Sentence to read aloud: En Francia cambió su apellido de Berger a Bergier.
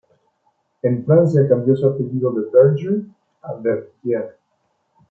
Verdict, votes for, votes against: accepted, 2, 1